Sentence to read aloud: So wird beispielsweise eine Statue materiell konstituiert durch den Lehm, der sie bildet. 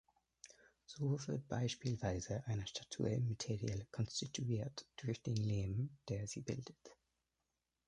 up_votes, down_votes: 1, 2